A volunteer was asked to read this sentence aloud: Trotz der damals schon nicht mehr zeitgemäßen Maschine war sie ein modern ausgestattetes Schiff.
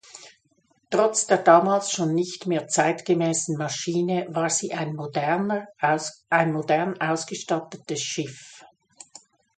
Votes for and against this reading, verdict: 0, 3, rejected